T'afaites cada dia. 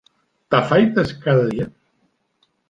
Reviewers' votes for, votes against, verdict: 0, 2, rejected